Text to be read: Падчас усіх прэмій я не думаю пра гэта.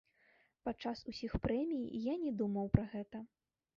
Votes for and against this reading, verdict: 0, 2, rejected